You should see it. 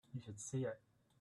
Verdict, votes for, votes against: rejected, 0, 2